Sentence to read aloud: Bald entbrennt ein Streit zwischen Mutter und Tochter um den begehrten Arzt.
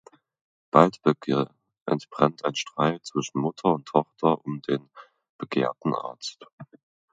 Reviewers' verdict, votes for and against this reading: rejected, 1, 2